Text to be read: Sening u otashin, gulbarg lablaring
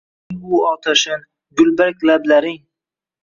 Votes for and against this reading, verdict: 0, 2, rejected